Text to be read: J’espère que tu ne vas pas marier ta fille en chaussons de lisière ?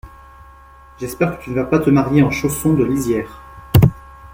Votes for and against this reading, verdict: 0, 2, rejected